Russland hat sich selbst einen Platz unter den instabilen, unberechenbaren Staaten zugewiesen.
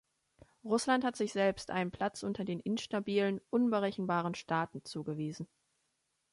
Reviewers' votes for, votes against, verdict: 2, 0, accepted